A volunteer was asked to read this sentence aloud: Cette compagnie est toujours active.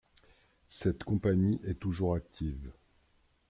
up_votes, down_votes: 2, 0